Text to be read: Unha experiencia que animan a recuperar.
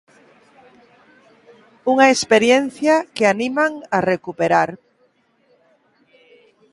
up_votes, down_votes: 2, 1